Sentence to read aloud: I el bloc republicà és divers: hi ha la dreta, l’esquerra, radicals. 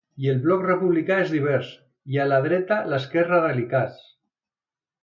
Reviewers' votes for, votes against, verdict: 1, 2, rejected